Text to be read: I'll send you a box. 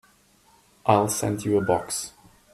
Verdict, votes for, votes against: accepted, 2, 0